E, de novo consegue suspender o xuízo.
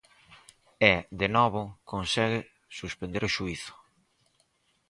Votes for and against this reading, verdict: 4, 0, accepted